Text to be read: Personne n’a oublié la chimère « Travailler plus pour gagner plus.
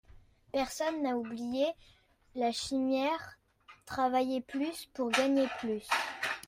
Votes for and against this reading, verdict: 1, 2, rejected